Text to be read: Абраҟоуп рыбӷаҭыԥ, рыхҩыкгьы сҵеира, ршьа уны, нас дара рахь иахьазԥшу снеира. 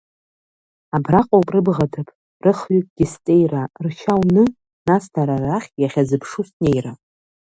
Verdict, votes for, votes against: rejected, 1, 2